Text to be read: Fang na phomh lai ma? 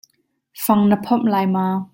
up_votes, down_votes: 2, 0